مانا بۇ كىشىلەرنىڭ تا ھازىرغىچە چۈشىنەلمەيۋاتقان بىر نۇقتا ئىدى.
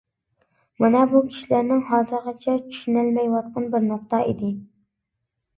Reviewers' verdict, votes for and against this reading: rejected, 0, 2